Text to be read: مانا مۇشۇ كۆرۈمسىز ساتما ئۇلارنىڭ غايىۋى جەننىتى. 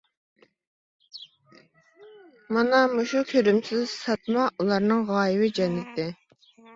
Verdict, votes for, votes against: accepted, 2, 1